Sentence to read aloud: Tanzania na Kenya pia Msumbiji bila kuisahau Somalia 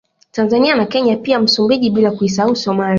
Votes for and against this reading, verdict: 2, 0, accepted